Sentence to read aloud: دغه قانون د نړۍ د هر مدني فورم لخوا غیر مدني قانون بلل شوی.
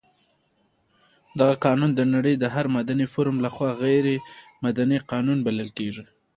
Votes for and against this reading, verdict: 2, 0, accepted